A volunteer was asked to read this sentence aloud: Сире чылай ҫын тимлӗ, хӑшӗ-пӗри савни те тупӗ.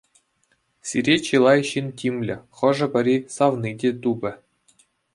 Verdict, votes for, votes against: accepted, 2, 0